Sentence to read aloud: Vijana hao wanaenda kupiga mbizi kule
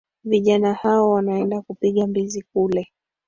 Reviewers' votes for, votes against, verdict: 1, 2, rejected